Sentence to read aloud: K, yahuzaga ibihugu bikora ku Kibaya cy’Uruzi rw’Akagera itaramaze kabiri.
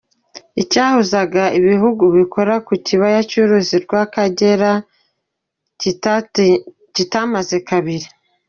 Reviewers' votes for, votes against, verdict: 1, 2, rejected